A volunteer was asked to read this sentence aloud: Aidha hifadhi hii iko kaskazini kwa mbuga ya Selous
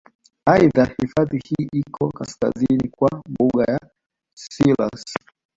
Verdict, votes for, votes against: accepted, 2, 0